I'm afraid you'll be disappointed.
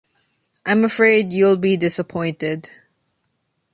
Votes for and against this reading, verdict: 2, 0, accepted